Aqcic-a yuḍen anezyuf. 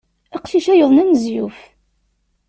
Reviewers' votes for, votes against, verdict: 2, 0, accepted